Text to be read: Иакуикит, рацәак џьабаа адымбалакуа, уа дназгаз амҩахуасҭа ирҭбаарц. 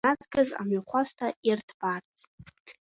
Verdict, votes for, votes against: rejected, 1, 2